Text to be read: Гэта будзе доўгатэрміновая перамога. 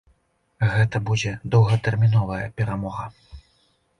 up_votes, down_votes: 2, 0